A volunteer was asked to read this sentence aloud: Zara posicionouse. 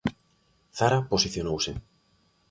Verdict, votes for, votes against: accepted, 3, 0